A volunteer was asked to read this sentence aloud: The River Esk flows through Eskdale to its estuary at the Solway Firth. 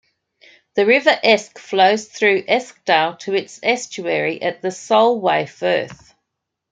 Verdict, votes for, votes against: accepted, 2, 0